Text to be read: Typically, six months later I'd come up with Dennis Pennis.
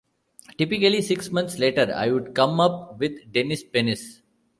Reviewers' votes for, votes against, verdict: 0, 2, rejected